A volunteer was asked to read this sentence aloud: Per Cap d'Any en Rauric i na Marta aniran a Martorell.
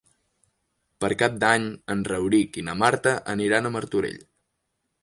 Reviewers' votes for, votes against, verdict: 5, 0, accepted